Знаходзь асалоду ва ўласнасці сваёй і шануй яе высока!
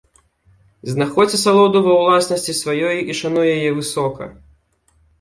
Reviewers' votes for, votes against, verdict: 2, 0, accepted